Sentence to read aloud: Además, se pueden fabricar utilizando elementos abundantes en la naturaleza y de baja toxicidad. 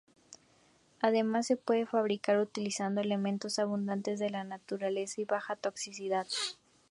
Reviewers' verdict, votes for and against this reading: accepted, 2, 0